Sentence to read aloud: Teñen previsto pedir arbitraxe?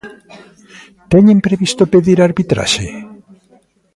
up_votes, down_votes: 0, 2